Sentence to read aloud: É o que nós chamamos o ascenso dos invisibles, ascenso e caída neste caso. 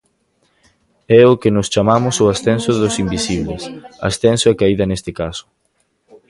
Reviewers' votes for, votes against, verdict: 2, 0, accepted